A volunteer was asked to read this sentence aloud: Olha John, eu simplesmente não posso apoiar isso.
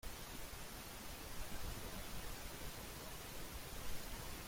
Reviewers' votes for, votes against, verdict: 0, 2, rejected